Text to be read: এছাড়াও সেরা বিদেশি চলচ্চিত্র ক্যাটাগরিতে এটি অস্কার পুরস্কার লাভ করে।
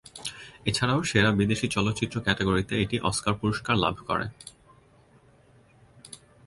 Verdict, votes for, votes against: accepted, 2, 0